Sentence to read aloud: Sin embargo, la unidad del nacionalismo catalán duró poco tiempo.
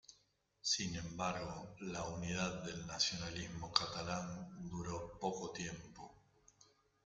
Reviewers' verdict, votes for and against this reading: rejected, 1, 2